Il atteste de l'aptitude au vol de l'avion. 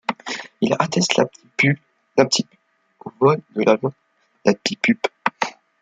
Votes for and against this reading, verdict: 0, 2, rejected